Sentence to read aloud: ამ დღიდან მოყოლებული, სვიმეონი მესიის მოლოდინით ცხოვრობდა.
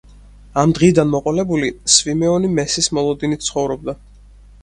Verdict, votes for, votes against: rejected, 0, 4